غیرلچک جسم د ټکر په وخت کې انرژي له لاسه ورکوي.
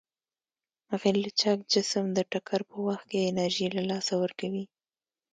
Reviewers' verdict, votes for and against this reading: rejected, 0, 2